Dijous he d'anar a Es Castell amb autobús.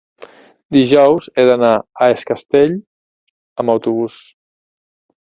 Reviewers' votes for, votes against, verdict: 2, 0, accepted